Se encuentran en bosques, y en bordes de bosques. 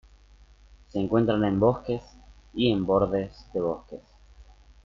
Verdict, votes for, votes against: accepted, 2, 0